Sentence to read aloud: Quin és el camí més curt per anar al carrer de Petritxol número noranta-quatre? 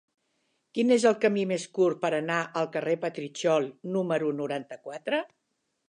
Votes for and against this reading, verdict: 1, 2, rejected